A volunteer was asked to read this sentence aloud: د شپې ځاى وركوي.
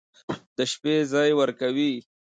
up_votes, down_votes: 2, 0